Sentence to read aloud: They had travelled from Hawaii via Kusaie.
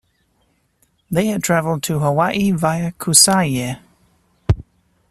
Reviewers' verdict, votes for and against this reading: rejected, 1, 2